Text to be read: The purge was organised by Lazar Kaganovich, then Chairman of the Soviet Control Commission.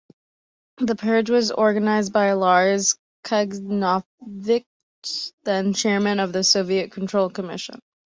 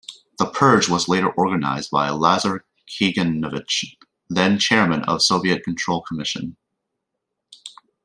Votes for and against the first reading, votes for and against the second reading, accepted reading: 0, 3, 2, 0, second